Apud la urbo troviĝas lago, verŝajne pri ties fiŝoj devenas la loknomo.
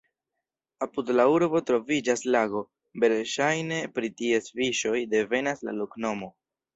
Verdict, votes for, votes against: accepted, 2, 0